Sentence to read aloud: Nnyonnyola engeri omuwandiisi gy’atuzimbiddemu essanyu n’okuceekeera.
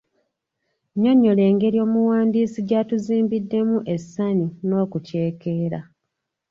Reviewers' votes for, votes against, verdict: 2, 0, accepted